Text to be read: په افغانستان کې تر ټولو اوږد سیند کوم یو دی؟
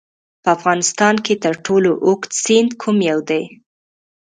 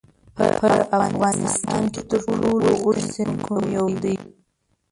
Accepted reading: first